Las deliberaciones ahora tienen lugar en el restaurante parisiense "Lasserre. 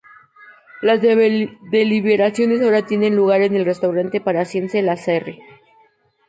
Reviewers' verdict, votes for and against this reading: rejected, 2, 2